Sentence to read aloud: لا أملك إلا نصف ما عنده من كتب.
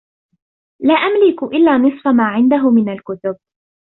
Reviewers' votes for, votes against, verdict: 1, 2, rejected